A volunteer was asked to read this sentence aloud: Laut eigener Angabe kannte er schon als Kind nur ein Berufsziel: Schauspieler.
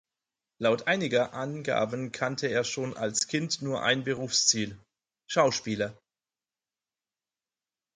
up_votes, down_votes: 0, 4